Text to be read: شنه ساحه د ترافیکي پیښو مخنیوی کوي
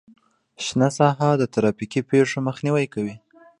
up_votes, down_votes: 0, 2